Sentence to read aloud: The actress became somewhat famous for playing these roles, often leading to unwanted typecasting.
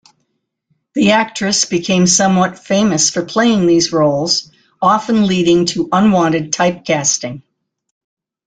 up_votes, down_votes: 0, 2